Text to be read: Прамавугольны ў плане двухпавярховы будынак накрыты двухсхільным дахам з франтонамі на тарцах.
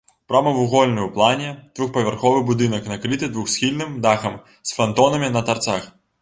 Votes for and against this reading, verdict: 0, 2, rejected